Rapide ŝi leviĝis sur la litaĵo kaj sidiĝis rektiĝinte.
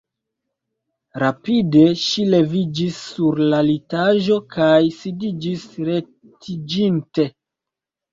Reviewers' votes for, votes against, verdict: 1, 2, rejected